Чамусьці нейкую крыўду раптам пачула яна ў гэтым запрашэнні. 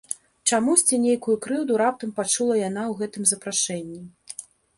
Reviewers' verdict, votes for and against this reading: accepted, 2, 0